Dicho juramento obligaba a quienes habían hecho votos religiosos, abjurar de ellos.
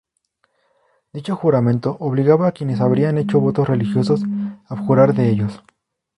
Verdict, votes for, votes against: rejected, 2, 2